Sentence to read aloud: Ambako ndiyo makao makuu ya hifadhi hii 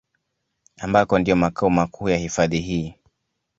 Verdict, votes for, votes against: accepted, 2, 0